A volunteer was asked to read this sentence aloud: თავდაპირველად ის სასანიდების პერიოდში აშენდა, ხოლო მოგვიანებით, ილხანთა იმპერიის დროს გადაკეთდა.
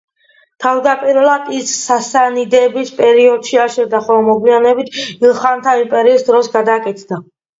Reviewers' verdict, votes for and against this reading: accepted, 2, 0